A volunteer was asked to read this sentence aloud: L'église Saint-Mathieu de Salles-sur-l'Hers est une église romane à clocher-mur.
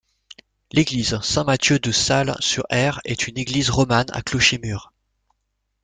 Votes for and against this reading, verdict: 0, 2, rejected